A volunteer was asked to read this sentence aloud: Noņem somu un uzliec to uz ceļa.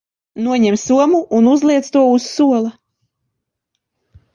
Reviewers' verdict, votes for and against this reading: rejected, 0, 2